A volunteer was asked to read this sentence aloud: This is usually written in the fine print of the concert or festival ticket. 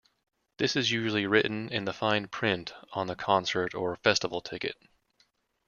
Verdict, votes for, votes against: rejected, 0, 2